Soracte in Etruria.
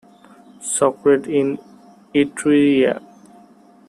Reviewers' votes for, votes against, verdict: 1, 2, rejected